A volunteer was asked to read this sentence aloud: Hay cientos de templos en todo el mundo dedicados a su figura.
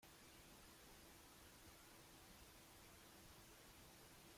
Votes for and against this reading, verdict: 0, 2, rejected